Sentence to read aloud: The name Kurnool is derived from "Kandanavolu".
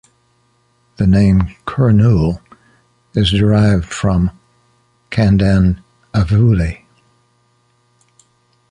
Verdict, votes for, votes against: rejected, 0, 2